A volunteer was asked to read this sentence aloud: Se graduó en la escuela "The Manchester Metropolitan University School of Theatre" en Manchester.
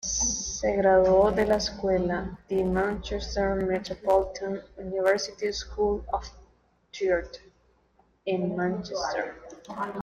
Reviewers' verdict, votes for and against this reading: accepted, 2, 0